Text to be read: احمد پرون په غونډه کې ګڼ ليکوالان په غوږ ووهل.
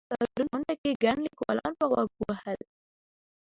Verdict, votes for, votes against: rejected, 0, 2